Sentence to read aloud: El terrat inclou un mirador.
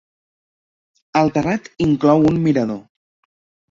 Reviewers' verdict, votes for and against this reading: accepted, 4, 0